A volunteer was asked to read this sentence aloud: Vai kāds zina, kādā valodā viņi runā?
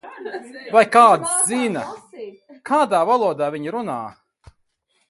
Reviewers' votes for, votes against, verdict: 2, 2, rejected